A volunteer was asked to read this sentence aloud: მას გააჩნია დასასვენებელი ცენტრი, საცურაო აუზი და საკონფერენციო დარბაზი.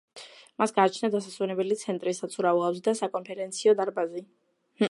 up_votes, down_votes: 2, 1